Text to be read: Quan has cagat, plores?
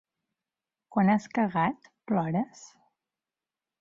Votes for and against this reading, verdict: 2, 0, accepted